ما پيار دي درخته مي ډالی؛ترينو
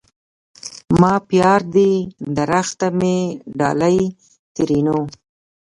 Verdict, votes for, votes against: rejected, 1, 2